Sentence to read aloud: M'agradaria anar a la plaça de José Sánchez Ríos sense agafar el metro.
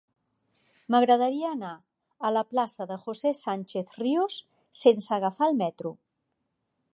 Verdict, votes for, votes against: accepted, 3, 0